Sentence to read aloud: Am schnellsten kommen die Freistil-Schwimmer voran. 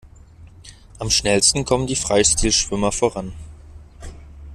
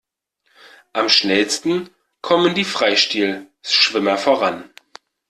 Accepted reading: first